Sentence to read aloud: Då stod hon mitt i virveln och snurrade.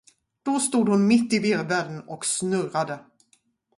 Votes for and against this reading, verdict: 2, 2, rejected